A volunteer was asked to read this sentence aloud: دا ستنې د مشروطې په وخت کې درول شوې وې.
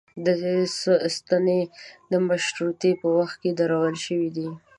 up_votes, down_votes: 0, 2